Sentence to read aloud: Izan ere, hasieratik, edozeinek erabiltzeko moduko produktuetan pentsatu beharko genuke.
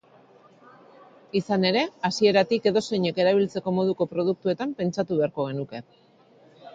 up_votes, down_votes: 4, 0